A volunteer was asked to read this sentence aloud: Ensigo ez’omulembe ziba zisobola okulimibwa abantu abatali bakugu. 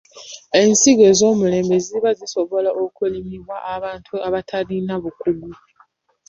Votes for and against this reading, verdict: 0, 2, rejected